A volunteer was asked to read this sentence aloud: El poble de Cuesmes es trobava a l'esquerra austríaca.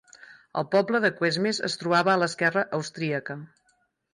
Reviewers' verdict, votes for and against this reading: accepted, 4, 0